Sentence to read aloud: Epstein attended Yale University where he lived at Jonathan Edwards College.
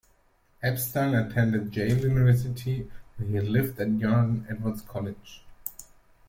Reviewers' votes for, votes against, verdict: 0, 2, rejected